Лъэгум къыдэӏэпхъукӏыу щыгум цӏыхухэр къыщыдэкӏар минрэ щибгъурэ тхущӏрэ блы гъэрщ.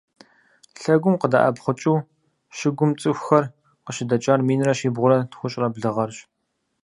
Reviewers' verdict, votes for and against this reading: accepted, 4, 0